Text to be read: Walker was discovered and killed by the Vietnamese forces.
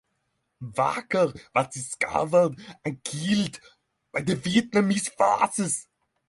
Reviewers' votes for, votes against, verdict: 3, 3, rejected